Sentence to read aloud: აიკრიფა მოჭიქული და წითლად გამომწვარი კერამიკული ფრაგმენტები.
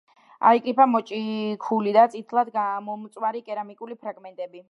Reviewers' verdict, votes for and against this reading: accepted, 2, 0